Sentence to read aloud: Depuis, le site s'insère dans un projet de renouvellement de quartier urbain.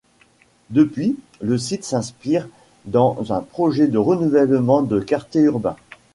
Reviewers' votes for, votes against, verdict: 1, 2, rejected